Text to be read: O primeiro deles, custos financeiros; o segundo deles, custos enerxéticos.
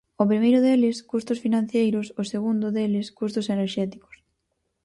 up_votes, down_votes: 0, 4